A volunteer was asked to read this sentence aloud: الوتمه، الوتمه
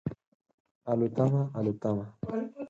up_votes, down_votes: 4, 0